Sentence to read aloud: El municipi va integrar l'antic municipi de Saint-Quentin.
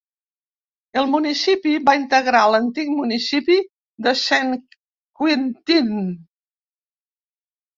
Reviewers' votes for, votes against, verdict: 1, 2, rejected